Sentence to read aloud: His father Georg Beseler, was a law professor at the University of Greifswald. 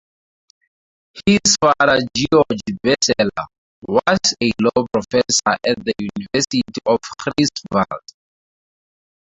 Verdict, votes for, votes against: rejected, 0, 2